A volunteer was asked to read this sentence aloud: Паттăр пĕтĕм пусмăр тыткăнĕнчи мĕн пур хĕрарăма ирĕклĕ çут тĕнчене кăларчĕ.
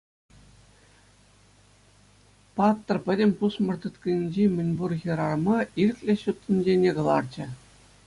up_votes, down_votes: 2, 0